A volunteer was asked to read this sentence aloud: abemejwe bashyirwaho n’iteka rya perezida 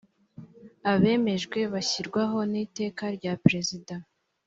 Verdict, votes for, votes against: accepted, 3, 0